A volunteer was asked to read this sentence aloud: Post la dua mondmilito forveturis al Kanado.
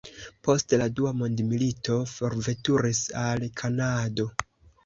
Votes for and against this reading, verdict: 0, 2, rejected